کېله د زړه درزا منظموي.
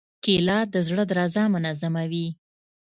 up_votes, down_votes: 2, 0